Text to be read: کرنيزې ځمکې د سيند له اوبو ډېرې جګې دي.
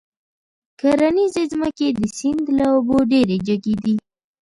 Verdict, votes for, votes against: accepted, 2, 0